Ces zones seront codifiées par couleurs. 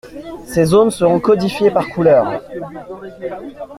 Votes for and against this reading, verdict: 2, 0, accepted